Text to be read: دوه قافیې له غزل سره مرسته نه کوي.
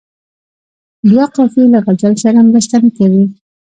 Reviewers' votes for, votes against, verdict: 2, 1, accepted